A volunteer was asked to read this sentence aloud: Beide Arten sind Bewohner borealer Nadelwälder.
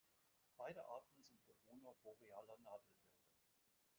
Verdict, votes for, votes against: rejected, 1, 2